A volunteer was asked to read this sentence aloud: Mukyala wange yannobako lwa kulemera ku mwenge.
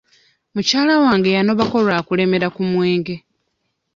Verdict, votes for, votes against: rejected, 0, 2